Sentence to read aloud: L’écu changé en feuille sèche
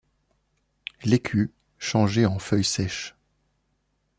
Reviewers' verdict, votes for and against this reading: accepted, 2, 0